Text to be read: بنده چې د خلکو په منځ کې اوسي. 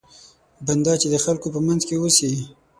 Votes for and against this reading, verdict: 6, 0, accepted